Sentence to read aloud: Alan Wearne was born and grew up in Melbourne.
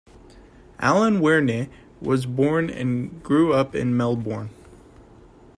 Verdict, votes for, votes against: accepted, 2, 0